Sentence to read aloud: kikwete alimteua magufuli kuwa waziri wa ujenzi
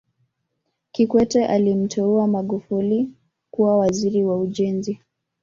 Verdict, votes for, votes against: rejected, 0, 2